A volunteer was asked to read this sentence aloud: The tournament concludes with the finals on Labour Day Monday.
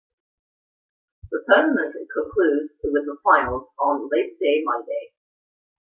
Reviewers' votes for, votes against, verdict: 0, 2, rejected